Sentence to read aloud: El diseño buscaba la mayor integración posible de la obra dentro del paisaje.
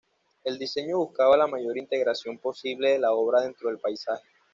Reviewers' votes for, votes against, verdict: 2, 0, accepted